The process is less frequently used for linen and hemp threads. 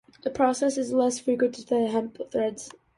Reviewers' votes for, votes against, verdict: 0, 2, rejected